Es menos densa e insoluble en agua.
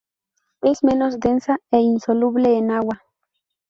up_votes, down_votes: 2, 0